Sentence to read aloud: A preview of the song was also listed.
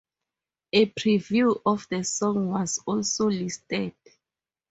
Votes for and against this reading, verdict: 2, 0, accepted